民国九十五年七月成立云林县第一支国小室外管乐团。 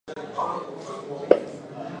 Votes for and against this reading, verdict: 0, 2, rejected